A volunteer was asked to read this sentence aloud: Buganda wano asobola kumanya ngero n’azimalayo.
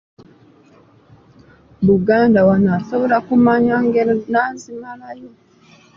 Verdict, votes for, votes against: rejected, 0, 2